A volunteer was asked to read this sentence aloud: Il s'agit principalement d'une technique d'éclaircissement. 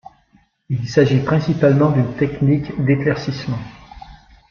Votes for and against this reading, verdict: 2, 2, rejected